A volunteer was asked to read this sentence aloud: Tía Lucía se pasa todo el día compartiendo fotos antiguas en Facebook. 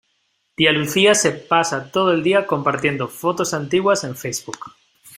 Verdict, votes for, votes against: accepted, 2, 0